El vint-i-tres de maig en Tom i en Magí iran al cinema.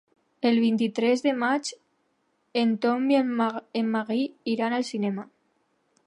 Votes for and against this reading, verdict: 0, 2, rejected